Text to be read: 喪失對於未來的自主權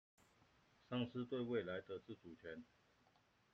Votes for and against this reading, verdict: 2, 1, accepted